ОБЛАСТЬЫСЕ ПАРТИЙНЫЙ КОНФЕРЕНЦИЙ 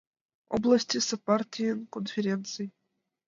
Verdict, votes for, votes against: accepted, 2, 0